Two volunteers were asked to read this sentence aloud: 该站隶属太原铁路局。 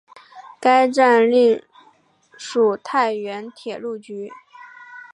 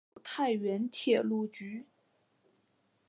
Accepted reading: first